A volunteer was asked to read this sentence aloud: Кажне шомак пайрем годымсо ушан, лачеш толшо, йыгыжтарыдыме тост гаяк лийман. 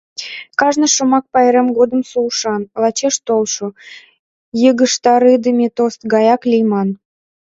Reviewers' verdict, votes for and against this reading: accepted, 2, 0